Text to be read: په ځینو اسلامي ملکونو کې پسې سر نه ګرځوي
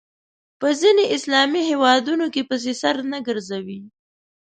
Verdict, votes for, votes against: rejected, 0, 2